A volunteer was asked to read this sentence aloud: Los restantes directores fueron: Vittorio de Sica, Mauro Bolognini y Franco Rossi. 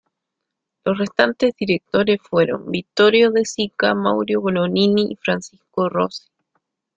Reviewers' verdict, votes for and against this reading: rejected, 1, 2